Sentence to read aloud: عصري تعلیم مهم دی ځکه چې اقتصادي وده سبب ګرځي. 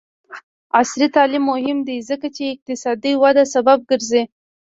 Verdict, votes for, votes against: rejected, 0, 2